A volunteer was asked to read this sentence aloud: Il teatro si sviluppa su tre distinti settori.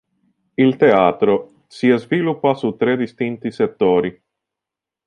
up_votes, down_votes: 1, 2